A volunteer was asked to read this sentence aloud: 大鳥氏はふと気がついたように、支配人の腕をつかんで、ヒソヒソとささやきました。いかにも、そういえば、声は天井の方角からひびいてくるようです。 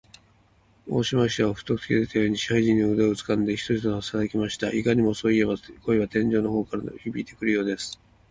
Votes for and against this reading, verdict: 3, 4, rejected